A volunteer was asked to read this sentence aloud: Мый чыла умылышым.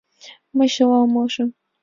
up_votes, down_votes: 2, 0